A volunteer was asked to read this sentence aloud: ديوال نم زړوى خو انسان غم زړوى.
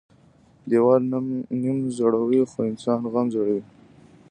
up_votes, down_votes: 2, 0